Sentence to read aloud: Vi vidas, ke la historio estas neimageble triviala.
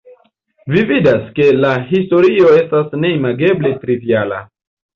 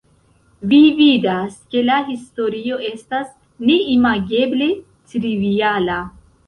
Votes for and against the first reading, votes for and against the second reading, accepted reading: 2, 0, 1, 2, first